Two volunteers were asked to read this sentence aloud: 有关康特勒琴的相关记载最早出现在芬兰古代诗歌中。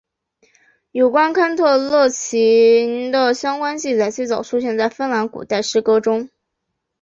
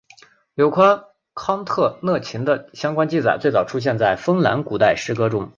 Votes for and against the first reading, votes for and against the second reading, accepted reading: 1, 3, 2, 0, second